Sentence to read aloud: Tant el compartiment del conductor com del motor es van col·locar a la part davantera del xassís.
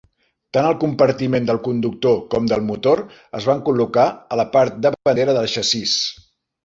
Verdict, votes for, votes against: rejected, 1, 3